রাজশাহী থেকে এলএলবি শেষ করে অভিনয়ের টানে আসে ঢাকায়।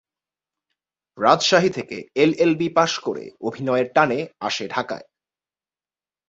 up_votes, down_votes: 2, 3